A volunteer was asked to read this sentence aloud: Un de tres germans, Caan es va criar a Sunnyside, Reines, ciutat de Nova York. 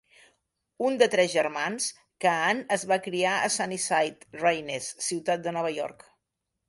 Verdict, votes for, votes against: accepted, 2, 0